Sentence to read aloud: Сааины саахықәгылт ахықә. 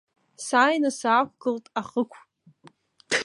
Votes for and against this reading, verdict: 1, 2, rejected